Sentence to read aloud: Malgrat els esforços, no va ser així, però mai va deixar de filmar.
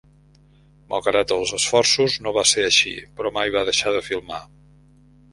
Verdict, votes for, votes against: accepted, 2, 0